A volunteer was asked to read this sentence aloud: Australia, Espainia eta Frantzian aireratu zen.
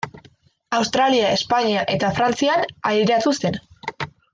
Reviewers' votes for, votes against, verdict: 2, 0, accepted